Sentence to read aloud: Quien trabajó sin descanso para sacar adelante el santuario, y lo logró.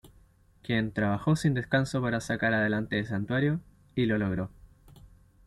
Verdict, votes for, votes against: accepted, 2, 0